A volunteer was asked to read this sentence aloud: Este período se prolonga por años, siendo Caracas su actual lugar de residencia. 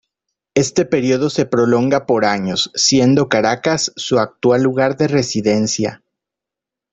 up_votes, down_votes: 2, 0